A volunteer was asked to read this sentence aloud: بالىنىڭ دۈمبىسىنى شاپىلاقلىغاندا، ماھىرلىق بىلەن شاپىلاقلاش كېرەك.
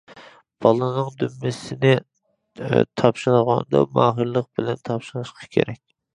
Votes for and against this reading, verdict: 0, 2, rejected